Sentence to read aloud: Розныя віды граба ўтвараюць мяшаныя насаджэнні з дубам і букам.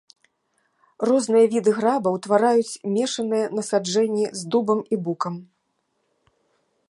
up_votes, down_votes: 0, 2